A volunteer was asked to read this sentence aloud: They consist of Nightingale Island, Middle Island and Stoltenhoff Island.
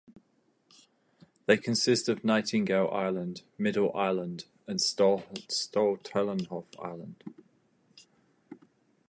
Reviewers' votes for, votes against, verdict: 2, 2, rejected